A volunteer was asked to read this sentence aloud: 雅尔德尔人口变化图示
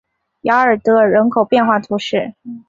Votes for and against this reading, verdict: 2, 0, accepted